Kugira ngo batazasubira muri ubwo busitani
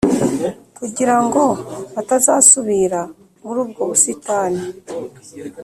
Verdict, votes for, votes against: accepted, 2, 0